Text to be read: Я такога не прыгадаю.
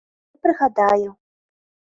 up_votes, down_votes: 0, 3